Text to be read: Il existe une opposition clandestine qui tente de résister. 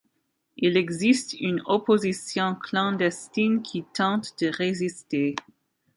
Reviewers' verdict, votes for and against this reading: accepted, 2, 0